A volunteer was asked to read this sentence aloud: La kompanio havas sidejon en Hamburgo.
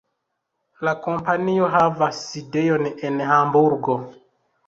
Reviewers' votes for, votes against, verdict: 0, 2, rejected